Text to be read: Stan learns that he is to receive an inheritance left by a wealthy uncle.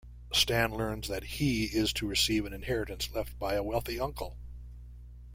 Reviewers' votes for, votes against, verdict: 2, 0, accepted